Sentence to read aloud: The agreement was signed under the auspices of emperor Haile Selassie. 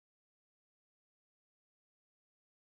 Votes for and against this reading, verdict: 0, 2, rejected